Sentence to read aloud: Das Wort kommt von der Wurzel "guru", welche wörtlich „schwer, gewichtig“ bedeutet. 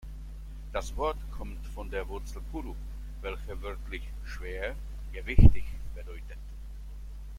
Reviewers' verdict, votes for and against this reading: accepted, 2, 0